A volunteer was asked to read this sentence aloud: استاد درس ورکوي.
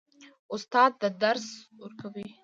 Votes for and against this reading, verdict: 0, 2, rejected